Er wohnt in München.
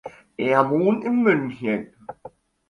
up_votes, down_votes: 2, 0